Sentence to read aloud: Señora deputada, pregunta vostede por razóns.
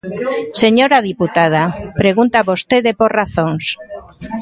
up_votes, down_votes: 2, 1